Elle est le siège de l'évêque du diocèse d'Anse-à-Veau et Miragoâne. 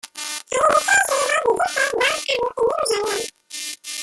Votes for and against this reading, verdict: 0, 2, rejected